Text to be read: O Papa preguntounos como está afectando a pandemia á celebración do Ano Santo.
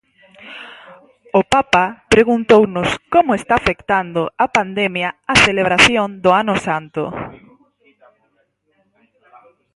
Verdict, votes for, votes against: accepted, 4, 2